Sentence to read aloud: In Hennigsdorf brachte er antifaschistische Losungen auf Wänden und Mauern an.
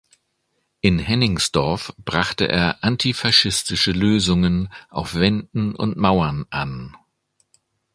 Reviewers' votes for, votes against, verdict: 1, 2, rejected